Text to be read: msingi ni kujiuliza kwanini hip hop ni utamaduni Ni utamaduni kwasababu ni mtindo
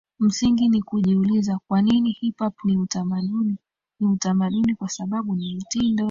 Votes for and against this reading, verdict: 2, 0, accepted